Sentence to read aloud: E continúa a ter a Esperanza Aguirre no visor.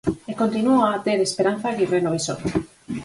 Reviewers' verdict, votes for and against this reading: rejected, 2, 4